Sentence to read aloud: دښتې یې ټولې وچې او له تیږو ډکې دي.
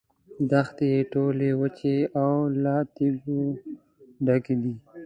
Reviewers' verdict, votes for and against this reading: accepted, 2, 0